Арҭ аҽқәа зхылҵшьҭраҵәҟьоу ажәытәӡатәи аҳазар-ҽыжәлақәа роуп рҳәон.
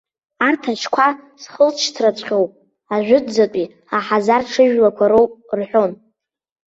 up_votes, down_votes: 2, 1